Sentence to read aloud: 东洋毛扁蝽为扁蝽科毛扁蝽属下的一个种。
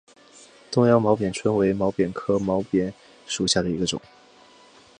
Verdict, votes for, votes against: accepted, 2, 0